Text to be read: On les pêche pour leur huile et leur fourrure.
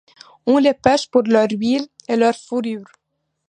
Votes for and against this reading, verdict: 2, 0, accepted